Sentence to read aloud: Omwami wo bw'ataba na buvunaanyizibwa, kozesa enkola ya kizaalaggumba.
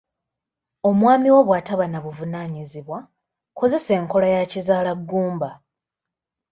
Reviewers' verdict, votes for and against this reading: accepted, 2, 1